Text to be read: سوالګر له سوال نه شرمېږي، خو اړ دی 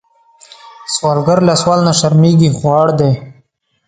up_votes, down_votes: 1, 2